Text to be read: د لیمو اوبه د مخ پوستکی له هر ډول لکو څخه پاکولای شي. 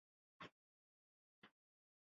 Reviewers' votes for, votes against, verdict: 1, 6, rejected